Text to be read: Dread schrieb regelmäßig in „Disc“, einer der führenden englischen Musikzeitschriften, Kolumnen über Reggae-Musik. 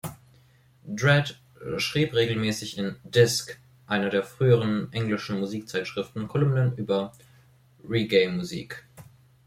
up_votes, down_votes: 0, 2